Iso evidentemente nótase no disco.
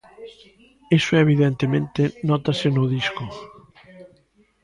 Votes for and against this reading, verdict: 2, 0, accepted